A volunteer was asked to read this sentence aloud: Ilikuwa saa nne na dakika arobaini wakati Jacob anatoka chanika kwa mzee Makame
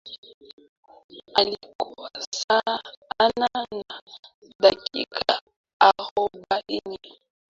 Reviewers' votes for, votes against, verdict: 0, 2, rejected